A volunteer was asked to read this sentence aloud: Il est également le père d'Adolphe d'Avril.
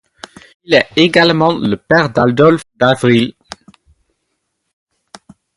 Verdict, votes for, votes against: accepted, 2, 0